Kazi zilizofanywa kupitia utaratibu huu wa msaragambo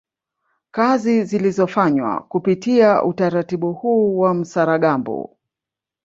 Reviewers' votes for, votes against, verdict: 1, 2, rejected